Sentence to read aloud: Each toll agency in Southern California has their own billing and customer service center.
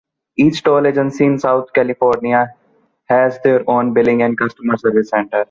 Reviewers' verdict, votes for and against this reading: rejected, 1, 2